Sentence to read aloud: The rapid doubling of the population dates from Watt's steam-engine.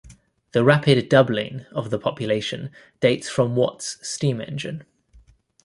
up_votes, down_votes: 2, 0